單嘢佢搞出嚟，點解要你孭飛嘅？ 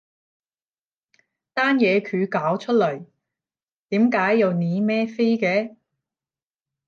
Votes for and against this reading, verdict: 0, 10, rejected